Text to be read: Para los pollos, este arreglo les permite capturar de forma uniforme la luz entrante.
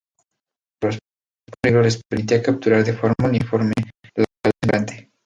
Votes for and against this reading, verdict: 0, 2, rejected